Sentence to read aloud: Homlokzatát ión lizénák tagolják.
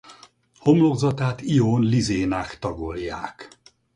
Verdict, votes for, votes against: accepted, 4, 0